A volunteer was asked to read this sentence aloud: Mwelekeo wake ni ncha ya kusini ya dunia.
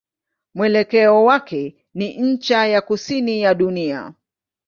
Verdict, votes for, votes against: accepted, 2, 0